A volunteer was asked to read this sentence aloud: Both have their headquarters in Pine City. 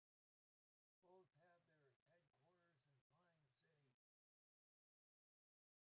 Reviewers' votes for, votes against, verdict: 0, 2, rejected